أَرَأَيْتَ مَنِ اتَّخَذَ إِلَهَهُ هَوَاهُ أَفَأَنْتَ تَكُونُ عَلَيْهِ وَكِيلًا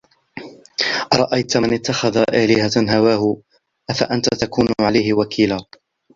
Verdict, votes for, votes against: rejected, 1, 2